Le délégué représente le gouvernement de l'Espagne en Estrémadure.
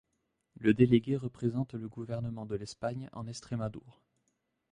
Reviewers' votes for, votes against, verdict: 0, 2, rejected